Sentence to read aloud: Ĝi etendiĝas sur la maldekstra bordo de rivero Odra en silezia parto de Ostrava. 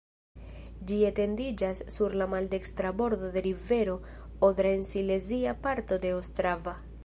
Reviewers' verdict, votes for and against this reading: accepted, 2, 0